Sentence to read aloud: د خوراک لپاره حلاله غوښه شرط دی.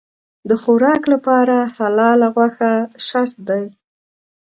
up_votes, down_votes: 2, 0